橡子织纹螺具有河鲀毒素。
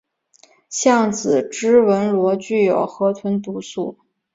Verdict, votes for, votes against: accepted, 4, 0